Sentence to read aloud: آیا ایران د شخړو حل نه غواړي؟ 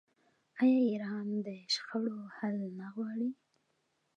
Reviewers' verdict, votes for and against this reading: accepted, 2, 0